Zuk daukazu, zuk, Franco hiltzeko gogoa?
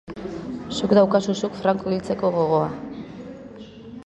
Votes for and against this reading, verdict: 1, 2, rejected